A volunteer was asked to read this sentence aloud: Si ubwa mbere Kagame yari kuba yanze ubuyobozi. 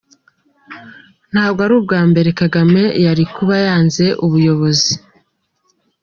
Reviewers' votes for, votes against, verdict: 0, 2, rejected